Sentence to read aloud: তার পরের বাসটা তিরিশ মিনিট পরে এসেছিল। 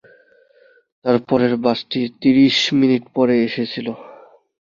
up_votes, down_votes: 2, 0